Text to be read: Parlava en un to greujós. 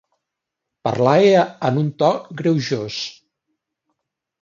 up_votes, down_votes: 1, 2